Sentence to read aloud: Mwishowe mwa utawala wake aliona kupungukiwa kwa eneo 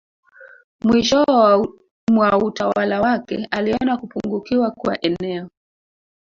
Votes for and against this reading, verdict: 0, 2, rejected